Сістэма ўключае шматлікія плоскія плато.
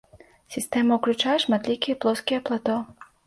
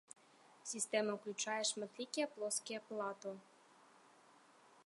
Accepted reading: first